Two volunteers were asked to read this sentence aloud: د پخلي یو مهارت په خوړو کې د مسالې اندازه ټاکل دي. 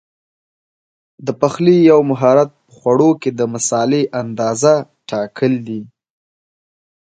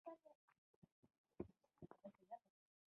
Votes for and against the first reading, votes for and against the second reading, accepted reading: 2, 0, 0, 2, first